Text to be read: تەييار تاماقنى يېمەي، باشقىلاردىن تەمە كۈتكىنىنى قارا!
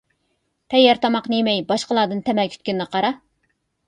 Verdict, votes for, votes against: accepted, 2, 0